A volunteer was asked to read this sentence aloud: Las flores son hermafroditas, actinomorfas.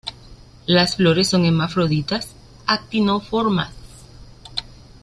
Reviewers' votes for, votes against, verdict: 0, 2, rejected